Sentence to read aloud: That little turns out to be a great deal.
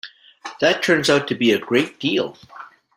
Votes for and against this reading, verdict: 0, 2, rejected